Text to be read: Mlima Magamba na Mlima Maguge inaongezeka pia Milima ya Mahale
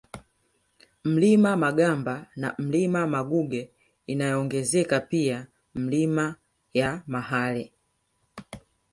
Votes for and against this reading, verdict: 1, 2, rejected